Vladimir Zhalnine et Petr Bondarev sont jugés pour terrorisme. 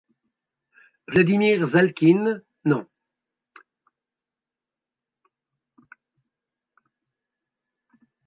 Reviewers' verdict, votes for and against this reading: rejected, 0, 2